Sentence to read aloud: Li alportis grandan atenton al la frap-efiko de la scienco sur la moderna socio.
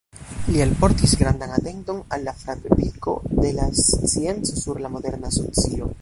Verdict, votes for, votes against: rejected, 1, 2